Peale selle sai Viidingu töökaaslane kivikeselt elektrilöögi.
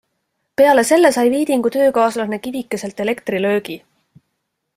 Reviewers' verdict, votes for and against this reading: accepted, 2, 0